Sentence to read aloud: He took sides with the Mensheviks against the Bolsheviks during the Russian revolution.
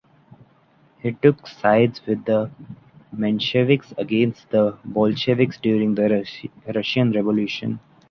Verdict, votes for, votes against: rejected, 1, 2